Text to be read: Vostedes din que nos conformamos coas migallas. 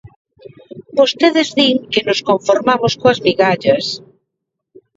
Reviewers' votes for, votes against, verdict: 1, 2, rejected